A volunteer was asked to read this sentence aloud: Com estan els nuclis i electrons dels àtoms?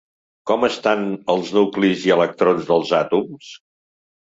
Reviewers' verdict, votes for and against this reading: accepted, 3, 0